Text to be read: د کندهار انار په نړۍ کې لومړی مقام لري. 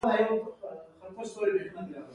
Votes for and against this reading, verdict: 2, 1, accepted